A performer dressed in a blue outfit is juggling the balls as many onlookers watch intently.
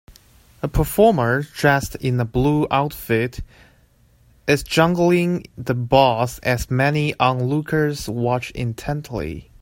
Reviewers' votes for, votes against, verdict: 0, 2, rejected